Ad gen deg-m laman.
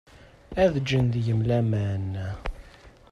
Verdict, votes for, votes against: rejected, 0, 2